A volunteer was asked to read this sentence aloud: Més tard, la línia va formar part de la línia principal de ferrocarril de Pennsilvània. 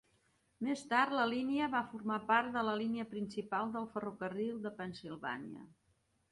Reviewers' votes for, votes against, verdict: 2, 0, accepted